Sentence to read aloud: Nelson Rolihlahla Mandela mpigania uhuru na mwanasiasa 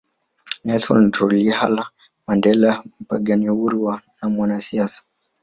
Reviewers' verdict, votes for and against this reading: accepted, 2, 0